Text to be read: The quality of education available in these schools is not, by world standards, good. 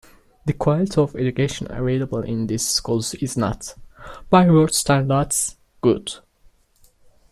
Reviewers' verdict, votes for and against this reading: accepted, 3, 2